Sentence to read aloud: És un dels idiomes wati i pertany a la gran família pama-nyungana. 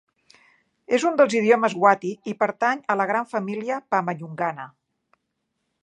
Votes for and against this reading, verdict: 4, 0, accepted